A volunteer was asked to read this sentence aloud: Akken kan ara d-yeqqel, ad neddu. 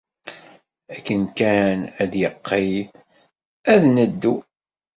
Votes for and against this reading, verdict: 1, 2, rejected